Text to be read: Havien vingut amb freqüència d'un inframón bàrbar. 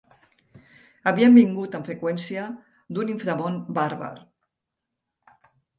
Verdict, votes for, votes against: accepted, 3, 0